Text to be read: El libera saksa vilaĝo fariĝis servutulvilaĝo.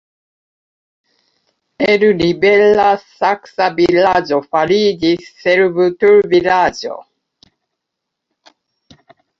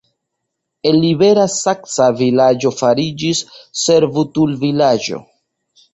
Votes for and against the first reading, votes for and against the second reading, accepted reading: 1, 2, 2, 0, second